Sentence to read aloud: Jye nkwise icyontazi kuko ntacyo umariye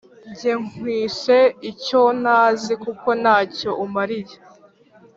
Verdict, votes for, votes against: rejected, 0, 2